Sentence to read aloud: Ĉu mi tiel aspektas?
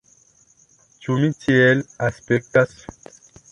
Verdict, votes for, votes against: accepted, 2, 0